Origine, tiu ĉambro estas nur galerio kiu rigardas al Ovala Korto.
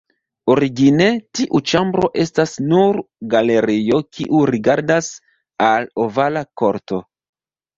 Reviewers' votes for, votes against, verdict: 2, 3, rejected